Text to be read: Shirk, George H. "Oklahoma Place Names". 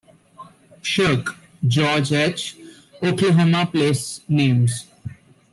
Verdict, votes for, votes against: rejected, 0, 2